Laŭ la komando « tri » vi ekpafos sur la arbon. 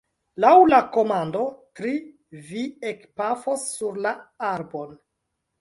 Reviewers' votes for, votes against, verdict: 1, 2, rejected